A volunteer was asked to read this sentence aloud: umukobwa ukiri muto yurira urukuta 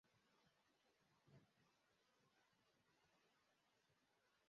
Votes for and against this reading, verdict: 0, 2, rejected